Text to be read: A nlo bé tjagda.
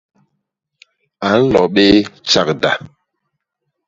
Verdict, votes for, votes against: accepted, 2, 0